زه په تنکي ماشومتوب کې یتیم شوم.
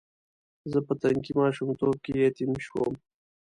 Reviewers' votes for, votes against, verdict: 2, 0, accepted